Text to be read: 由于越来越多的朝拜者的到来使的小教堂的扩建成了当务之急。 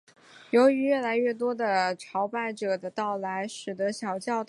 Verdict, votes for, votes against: rejected, 0, 3